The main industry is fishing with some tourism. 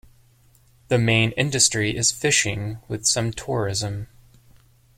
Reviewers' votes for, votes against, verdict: 2, 0, accepted